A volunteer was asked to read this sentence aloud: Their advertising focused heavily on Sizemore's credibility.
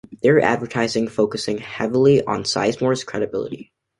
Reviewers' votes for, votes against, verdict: 1, 2, rejected